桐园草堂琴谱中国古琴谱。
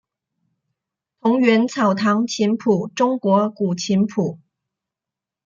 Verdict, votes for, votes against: accepted, 2, 0